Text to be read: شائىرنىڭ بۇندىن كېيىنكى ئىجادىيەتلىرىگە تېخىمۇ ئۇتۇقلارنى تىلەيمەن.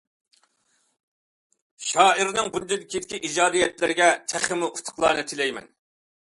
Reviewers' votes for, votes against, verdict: 1, 2, rejected